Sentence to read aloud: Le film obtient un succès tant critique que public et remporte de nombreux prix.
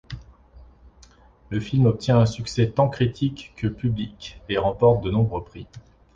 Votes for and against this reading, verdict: 2, 0, accepted